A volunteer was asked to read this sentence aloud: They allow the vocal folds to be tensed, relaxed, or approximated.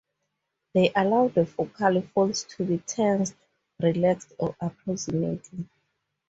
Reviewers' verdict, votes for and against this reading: accepted, 4, 0